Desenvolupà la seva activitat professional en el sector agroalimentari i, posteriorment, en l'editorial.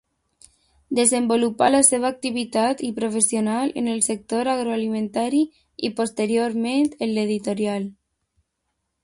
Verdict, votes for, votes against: rejected, 1, 2